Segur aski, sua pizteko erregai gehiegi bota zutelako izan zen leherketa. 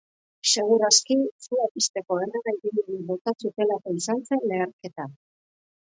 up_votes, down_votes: 1, 2